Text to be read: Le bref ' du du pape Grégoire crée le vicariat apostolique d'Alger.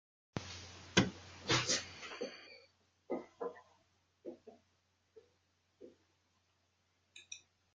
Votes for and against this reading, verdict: 0, 2, rejected